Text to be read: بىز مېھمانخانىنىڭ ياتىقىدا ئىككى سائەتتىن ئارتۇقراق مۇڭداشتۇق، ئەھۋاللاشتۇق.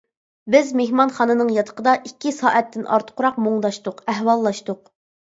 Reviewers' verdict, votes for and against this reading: accepted, 2, 0